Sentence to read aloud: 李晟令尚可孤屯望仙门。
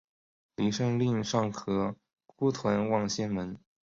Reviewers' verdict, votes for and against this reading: accepted, 3, 0